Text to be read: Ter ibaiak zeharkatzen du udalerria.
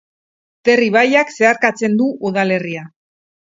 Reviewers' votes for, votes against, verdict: 4, 0, accepted